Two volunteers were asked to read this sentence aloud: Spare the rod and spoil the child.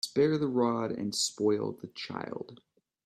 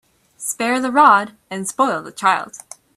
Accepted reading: first